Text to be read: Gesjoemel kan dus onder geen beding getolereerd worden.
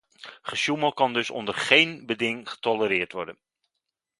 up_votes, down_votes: 2, 0